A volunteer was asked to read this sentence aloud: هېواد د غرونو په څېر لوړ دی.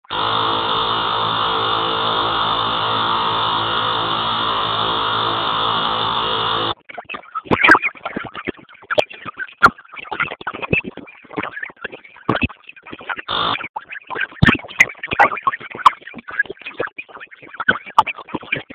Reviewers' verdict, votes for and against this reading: rejected, 0, 2